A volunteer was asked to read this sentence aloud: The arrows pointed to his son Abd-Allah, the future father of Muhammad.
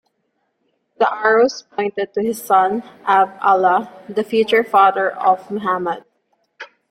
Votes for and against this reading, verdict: 2, 0, accepted